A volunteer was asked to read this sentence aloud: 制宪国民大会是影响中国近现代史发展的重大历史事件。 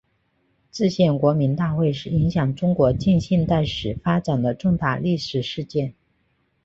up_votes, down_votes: 2, 0